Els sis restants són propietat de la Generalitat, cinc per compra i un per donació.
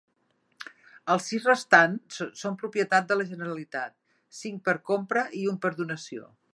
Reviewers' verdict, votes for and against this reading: accepted, 4, 1